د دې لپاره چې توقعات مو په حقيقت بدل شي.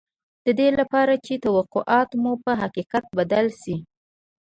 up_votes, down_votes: 2, 0